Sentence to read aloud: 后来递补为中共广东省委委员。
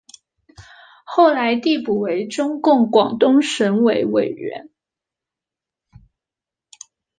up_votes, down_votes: 2, 0